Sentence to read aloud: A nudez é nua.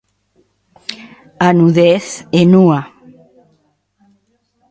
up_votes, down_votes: 2, 0